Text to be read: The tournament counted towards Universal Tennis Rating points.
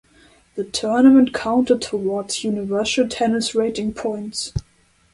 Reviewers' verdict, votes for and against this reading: accepted, 2, 0